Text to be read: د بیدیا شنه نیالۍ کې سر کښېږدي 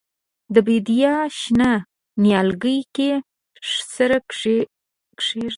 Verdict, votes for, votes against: rejected, 2, 3